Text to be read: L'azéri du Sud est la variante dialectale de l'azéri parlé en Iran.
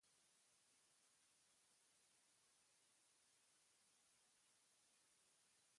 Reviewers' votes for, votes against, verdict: 0, 2, rejected